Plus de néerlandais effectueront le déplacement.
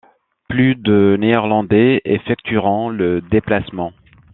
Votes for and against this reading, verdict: 2, 0, accepted